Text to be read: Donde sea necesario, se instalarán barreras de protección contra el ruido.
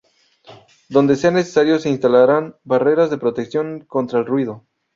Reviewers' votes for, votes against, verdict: 2, 0, accepted